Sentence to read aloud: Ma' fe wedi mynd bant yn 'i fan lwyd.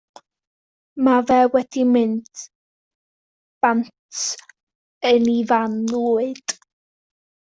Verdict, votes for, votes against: accepted, 2, 0